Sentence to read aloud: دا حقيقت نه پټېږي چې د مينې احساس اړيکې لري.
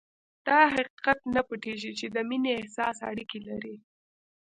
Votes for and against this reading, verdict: 1, 2, rejected